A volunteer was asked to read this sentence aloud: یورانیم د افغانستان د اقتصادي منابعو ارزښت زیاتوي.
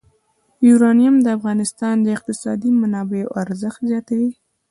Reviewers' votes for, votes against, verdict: 2, 0, accepted